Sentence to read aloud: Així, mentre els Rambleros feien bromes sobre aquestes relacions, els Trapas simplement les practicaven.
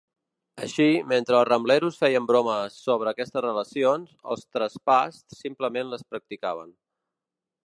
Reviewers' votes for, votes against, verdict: 0, 2, rejected